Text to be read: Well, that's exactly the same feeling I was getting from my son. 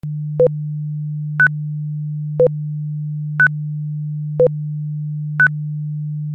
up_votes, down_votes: 0, 2